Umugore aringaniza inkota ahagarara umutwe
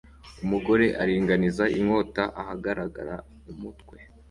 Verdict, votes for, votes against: rejected, 0, 2